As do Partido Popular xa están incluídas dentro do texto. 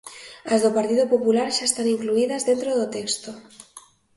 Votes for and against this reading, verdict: 2, 0, accepted